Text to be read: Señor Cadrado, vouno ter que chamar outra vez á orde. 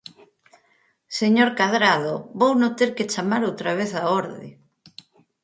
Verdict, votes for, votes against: accepted, 4, 0